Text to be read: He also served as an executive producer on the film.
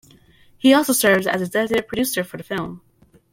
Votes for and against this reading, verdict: 0, 2, rejected